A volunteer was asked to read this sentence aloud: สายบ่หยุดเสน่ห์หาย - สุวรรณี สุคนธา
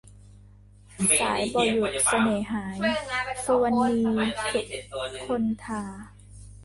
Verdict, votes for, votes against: rejected, 0, 2